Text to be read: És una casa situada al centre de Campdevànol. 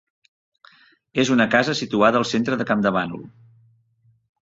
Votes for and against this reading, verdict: 3, 0, accepted